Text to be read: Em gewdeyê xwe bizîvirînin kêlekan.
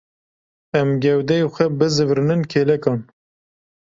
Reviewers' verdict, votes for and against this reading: accepted, 2, 0